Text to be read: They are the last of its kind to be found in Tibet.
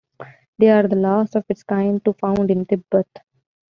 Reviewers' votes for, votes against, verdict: 1, 2, rejected